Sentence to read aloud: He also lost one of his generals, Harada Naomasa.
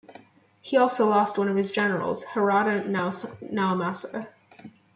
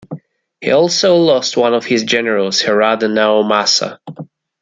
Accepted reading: second